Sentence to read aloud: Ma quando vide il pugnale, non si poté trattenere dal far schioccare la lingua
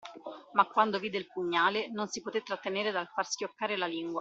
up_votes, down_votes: 2, 0